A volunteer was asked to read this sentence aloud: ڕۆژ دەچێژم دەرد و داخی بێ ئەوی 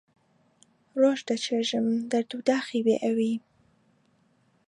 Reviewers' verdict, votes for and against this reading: accepted, 2, 0